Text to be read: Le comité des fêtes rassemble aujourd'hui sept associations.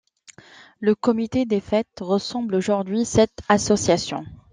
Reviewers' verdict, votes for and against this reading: rejected, 1, 2